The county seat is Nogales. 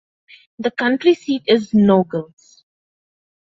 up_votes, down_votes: 1, 2